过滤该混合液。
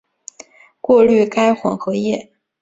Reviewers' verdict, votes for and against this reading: accepted, 2, 1